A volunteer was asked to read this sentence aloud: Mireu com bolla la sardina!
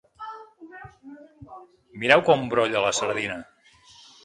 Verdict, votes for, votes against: rejected, 0, 2